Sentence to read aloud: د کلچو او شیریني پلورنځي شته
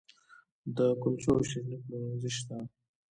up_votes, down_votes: 2, 0